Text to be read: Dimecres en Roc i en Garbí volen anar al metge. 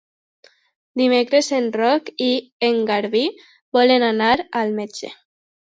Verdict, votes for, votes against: accepted, 2, 0